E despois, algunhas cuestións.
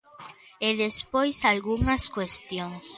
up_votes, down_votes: 2, 1